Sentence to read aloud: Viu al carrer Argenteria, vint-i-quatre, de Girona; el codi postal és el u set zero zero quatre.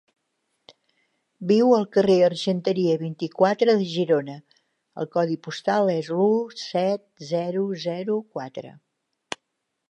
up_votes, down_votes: 3, 1